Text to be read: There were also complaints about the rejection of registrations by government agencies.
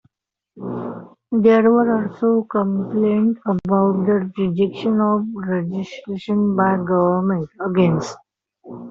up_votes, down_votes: 0, 2